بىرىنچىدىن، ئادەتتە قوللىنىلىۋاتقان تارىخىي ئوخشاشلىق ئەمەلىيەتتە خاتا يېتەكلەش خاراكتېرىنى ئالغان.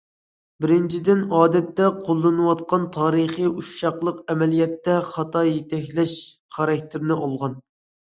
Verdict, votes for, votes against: rejected, 0, 2